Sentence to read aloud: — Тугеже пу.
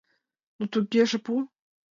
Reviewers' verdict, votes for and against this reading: accepted, 2, 0